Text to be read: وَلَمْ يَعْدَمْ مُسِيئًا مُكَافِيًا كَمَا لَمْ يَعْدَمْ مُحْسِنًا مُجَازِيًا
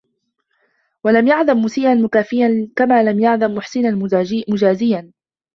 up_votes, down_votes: 0, 2